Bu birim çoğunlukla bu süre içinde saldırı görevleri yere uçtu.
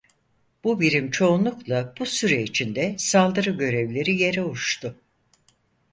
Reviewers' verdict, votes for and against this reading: accepted, 4, 0